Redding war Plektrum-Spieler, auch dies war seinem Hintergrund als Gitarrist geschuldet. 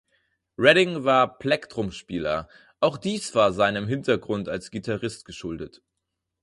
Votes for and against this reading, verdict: 4, 0, accepted